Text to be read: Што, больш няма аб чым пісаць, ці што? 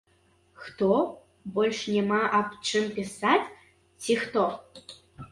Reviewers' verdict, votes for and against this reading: rejected, 0, 2